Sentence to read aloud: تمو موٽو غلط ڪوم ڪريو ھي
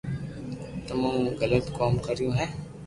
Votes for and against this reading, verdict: 2, 0, accepted